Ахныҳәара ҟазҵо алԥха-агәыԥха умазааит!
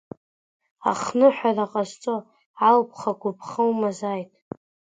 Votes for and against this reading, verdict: 2, 0, accepted